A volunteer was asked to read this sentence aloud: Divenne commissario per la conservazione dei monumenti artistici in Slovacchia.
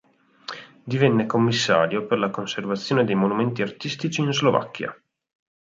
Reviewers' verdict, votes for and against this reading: accepted, 4, 0